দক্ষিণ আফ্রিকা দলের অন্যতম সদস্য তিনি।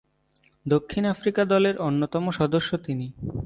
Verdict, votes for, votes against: accepted, 2, 0